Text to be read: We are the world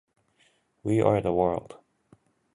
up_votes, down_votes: 2, 0